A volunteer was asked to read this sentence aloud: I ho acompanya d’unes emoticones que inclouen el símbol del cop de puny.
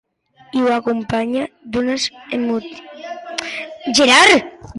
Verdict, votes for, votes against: rejected, 0, 2